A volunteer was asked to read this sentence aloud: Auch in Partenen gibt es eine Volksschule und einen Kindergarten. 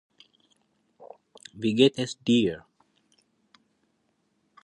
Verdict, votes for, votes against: rejected, 0, 2